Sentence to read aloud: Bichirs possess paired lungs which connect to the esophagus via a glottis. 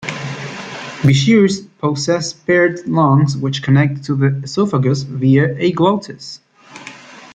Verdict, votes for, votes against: rejected, 1, 2